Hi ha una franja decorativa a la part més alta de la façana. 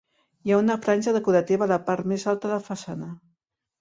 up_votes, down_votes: 1, 2